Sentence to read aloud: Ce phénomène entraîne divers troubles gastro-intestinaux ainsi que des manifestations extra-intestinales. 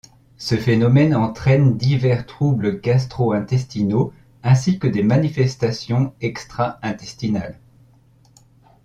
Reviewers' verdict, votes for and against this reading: accepted, 2, 0